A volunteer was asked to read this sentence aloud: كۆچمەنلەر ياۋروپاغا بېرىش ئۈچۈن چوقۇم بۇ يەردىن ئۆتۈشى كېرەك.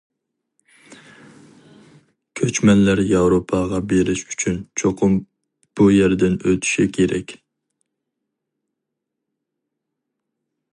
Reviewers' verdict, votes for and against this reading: accepted, 4, 0